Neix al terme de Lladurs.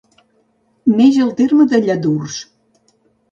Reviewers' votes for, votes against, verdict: 2, 0, accepted